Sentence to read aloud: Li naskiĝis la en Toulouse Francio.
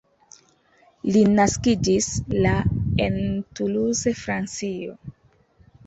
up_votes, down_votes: 2, 0